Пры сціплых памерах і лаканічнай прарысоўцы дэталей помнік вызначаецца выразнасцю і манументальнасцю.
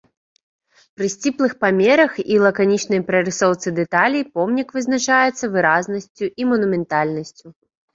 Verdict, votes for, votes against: accepted, 2, 0